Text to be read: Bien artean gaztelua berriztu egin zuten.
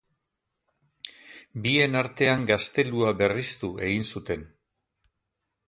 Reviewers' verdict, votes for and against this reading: accepted, 4, 0